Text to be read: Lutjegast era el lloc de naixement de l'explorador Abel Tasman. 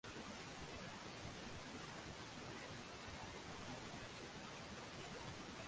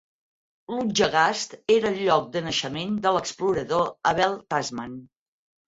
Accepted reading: second